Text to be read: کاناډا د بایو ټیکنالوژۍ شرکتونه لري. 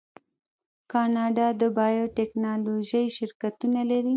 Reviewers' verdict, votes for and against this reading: rejected, 1, 2